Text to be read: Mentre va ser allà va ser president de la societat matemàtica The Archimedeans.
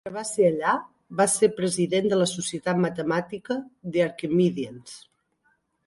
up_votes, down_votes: 4, 5